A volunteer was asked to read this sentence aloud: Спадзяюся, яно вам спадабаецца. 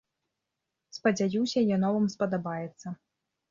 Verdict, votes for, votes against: accepted, 2, 0